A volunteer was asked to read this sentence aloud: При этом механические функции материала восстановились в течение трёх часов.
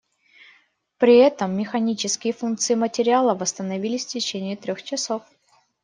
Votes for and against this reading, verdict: 2, 0, accepted